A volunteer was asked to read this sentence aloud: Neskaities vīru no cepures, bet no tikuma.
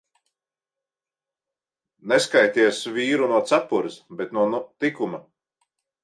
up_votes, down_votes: 0, 3